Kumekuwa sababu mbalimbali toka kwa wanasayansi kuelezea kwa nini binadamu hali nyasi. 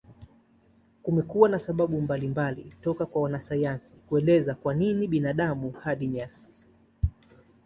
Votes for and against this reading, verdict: 1, 2, rejected